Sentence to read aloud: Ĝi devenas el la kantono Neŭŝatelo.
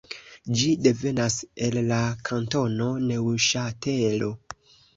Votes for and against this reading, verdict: 1, 2, rejected